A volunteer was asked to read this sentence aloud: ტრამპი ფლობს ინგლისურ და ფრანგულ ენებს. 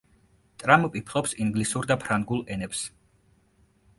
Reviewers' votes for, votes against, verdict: 2, 0, accepted